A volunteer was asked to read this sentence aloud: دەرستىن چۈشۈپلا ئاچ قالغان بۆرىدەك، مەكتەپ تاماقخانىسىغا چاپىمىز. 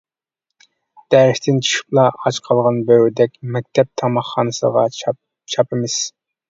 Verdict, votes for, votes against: rejected, 0, 2